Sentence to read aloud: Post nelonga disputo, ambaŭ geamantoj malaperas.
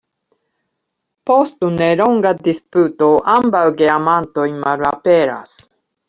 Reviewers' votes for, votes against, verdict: 2, 0, accepted